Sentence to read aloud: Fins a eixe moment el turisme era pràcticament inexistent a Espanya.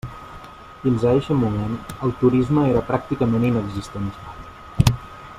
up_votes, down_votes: 0, 2